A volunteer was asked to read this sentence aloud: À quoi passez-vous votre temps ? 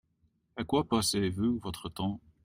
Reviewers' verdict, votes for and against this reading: rejected, 1, 2